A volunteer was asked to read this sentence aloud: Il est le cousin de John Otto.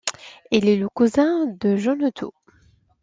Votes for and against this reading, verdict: 2, 0, accepted